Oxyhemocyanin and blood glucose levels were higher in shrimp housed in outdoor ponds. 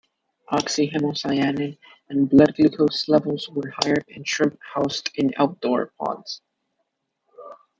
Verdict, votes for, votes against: accepted, 2, 0